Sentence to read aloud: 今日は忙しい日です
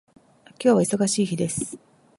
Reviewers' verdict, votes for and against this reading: accepted, 2, 0